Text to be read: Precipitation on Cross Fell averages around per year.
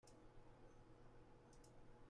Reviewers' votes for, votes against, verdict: 0, 2, rejected